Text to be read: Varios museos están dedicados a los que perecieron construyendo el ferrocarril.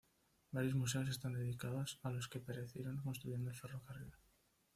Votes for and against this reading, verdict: 1, 2, rejected